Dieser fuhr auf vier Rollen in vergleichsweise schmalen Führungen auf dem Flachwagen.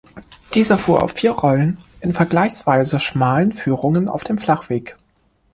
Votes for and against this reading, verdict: 0, 2, rejected